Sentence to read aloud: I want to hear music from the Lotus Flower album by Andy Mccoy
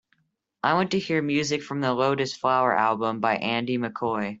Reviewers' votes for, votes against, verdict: 2, 0, accepted